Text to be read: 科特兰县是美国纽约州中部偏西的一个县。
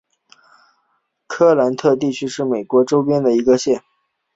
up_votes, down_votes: 2, 1